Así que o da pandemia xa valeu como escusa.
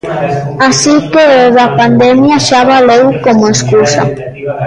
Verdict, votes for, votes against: rejected, 1, 2